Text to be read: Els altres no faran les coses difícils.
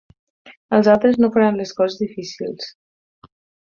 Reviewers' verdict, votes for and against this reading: accepted, 6, 0